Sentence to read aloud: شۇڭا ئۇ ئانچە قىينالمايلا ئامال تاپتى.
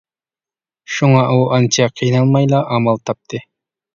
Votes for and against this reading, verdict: 2, 1, accepted